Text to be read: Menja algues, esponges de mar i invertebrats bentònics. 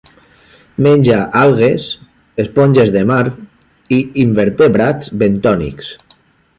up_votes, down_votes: 3, 0